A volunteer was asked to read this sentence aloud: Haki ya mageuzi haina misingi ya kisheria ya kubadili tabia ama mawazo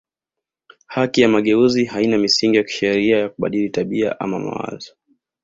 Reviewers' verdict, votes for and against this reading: accepted, 2, 0